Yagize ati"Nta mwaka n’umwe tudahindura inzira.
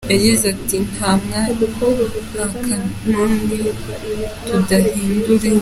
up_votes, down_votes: 0, 2